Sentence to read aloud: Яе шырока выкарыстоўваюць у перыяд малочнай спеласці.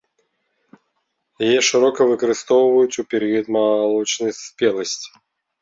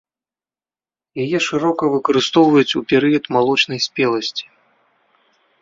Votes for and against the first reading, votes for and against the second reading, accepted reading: 2, 3, 2, 0, second